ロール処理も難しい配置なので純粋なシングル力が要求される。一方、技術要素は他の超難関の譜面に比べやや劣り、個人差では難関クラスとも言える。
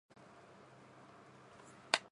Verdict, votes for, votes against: rejected, 0, 6